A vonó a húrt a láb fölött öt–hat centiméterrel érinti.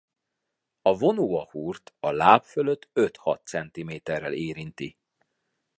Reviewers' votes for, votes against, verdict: 2, 0, accepted